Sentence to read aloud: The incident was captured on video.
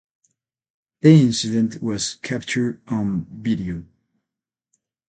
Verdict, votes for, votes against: accepted, 8, 0